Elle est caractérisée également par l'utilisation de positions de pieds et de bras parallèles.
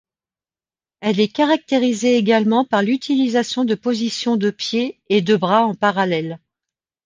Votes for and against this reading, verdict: 0, 2, rejected